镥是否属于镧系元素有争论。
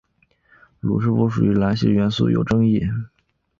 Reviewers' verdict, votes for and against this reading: rejected, 4, 6